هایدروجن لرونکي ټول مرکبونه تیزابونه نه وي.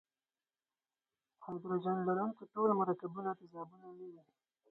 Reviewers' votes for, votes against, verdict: 0, 4, rejected